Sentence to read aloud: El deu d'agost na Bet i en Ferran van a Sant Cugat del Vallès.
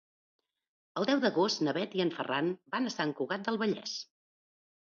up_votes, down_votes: 2, 1